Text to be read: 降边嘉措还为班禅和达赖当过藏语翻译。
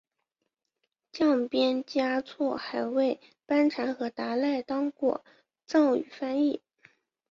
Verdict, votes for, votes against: accepted, 3, 0